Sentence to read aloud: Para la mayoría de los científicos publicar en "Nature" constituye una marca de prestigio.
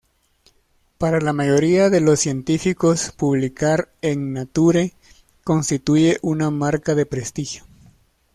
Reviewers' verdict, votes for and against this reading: accepted, 2, 0